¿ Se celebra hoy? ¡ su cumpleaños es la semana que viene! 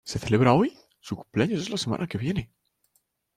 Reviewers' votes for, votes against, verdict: 2, 0, accepted